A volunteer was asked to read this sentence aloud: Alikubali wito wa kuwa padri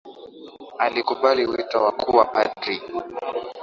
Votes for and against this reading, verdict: 2, 1, accepted